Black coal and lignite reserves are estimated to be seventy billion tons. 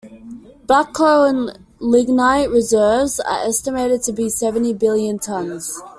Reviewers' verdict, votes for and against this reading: accepted, 2, 0